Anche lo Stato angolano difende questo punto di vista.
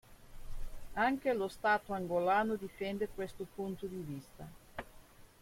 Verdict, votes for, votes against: accepted, 2, 1